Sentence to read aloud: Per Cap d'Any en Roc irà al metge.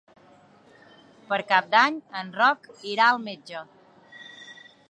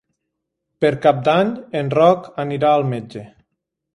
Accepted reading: first